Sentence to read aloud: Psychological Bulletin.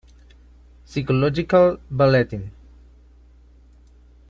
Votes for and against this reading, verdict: 0, 2, rejected